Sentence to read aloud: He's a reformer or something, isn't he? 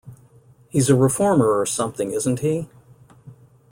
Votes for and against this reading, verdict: 2, 0, accepted